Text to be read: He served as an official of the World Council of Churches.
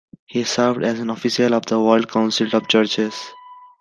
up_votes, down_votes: 1, 2